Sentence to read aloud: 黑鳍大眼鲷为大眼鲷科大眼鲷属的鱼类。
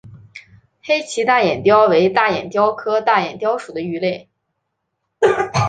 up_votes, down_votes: 4, 0